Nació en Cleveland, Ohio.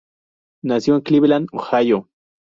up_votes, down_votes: 2, 0